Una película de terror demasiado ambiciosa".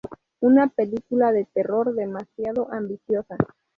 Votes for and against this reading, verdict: 0, 2, rejected